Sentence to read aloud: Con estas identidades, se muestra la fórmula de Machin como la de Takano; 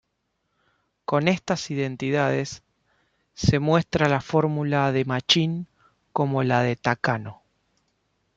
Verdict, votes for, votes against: accepted, 2, 0